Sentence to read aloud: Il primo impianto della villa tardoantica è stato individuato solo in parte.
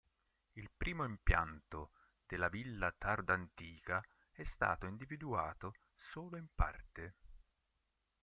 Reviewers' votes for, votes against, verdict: 1, 2, rejected